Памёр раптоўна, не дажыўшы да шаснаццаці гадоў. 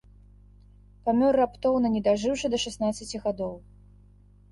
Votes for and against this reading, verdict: 2, 1, accepted